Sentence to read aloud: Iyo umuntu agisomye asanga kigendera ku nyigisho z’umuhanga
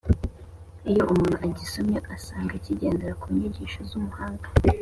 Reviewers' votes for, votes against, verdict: 2, 0, accepted